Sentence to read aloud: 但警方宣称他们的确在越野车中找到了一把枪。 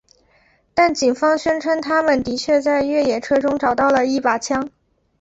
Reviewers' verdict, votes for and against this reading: accepted, 6, 0